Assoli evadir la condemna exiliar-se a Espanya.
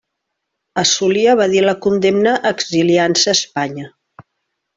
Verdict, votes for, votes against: rejected, 1, 2